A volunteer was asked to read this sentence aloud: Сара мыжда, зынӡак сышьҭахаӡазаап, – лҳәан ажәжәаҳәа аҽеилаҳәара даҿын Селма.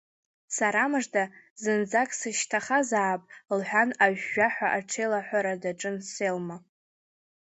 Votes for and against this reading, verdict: 0, 2, rejected